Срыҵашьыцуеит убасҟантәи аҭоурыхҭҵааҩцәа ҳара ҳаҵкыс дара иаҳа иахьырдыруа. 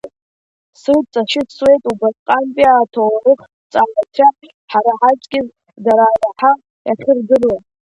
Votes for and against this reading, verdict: 2, 1, accepted